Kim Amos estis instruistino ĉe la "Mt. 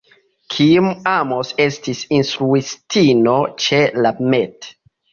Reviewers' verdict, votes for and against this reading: rejected, 1, 2